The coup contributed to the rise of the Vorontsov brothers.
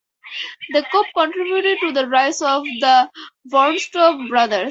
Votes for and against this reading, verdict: 4, 0, accepted